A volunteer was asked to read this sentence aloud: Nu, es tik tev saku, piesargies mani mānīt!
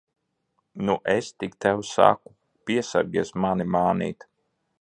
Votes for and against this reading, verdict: 2, 0, accepted